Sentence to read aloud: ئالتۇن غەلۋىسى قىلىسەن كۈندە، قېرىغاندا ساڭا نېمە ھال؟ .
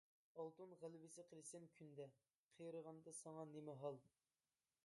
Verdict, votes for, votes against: rejected, 0, 2